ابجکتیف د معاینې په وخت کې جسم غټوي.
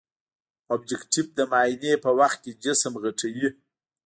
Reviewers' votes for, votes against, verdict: 0, 2, rejected